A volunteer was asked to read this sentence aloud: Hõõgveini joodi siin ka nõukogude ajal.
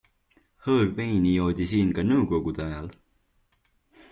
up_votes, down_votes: 2, 0